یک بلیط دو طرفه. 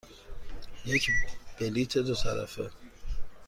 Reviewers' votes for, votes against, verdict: 2, 0, accepted